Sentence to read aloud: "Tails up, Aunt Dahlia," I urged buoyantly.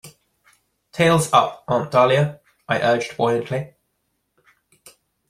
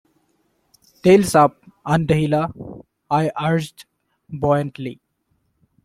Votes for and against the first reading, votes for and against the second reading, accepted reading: 2, 0, 0, 2, first